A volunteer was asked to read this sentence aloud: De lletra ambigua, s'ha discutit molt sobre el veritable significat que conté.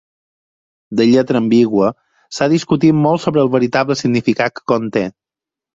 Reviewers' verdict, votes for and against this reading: accepted, 4, 2